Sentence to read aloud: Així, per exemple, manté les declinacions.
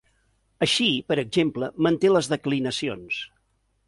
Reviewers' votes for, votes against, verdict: 2, 0, accepted